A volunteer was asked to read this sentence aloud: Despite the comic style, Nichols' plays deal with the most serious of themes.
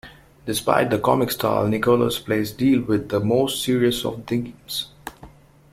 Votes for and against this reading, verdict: 2, 0, accepted